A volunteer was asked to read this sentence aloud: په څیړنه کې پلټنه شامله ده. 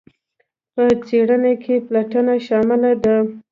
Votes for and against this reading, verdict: 2, 0, accepted